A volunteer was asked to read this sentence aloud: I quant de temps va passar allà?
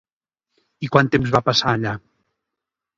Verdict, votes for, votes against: rejected, 1, 2